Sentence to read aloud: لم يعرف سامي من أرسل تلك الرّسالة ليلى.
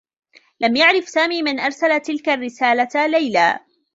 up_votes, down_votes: 1, 2